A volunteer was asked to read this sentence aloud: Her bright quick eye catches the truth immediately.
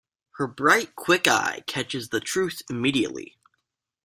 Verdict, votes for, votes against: accepted, 2, 0